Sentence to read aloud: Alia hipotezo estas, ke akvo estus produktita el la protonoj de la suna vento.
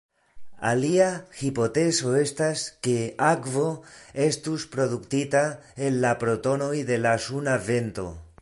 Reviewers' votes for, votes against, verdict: 2, 0, accepted